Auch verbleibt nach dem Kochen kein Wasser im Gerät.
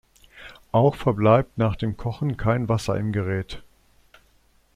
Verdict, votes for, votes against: accepted, 2, 0